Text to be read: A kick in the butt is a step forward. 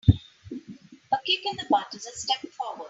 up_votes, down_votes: 2, 0